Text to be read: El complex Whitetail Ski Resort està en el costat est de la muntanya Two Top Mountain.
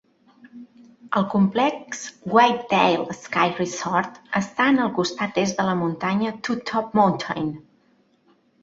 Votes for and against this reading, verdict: 0, 2, rejected